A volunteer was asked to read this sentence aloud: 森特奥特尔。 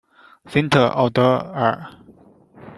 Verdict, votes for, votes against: rejected, 0, 2